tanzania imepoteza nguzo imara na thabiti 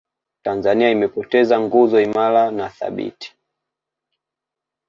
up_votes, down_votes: 2, 0